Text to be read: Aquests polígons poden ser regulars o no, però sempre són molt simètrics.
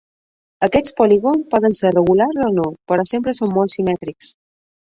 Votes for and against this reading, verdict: 2, 0, accepted